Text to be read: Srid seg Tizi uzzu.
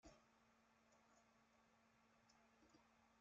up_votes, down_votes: 0, 2